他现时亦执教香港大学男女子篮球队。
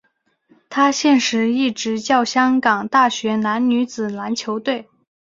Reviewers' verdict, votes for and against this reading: accepted, 2, 0